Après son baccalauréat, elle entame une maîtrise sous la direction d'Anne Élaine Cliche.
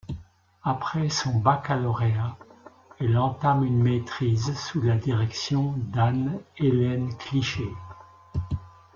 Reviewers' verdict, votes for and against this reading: accepted, 2, 1